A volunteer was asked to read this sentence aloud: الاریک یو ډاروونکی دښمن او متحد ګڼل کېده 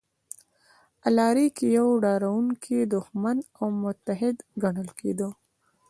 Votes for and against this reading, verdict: 1, 2, rejected